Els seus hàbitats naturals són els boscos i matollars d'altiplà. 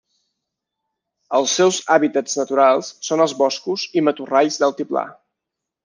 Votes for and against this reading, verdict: 0, 2, rejected